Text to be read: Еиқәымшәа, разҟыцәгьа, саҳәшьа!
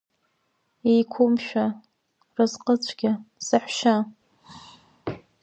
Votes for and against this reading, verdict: 2, 1, accepted